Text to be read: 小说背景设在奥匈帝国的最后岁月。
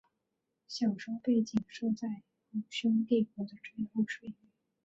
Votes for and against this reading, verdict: 2, 5, rejected